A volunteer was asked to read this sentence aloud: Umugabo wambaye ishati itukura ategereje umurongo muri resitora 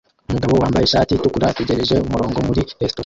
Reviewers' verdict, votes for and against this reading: accepted, 2, 1